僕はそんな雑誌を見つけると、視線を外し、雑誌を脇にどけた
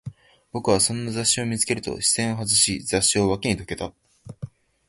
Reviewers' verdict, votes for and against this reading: accepted, 2, 0